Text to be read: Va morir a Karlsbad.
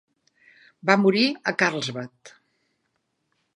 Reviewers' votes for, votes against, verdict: 4, 0, accepted